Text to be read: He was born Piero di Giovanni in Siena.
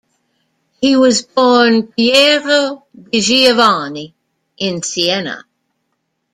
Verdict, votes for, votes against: accepted, 2, 0